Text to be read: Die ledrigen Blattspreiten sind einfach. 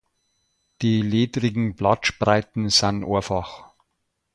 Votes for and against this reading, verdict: 2, 1, accepted